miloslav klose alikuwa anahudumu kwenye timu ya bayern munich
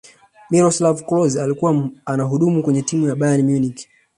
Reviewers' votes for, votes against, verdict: 0, 2, rejected